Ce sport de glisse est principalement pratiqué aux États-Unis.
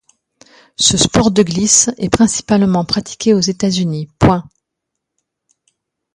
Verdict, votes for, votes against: rejected, 1, 2